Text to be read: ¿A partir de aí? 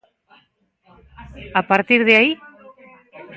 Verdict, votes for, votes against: rejected, 1, 2